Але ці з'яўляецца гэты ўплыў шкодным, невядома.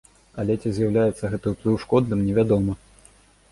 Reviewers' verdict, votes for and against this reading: accepted, 3, 0